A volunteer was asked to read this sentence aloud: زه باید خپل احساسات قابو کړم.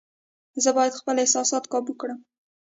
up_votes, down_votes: 1, 2